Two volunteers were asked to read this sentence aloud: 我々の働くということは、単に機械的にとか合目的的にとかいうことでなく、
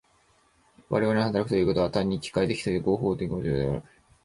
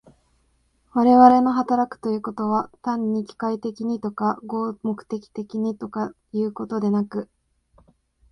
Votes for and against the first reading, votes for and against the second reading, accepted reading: 2, 3, 2, 0, second